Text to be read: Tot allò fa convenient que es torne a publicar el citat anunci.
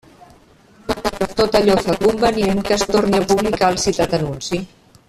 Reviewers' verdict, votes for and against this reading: rejected, 0, 2